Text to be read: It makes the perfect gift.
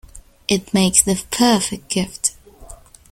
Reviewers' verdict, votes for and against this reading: accepted, 2, 0